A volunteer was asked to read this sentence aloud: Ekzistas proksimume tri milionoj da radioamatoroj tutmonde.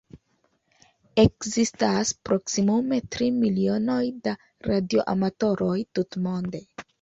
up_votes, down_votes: 2, 0